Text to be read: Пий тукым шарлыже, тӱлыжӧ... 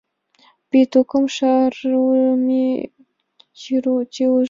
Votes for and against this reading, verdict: 0, 2, rejected